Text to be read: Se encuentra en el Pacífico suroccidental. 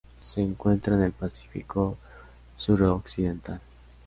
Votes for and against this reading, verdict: 2, 0, accepted